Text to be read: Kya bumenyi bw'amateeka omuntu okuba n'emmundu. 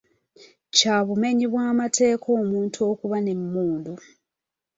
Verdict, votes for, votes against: accepted, 2, 0